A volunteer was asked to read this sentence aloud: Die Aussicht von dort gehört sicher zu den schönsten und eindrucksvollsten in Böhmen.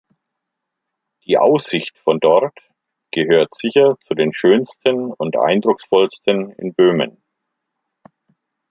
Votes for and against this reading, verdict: 2, 0, accepted